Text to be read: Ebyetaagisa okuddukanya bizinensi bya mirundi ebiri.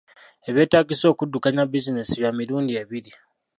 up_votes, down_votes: 1, 2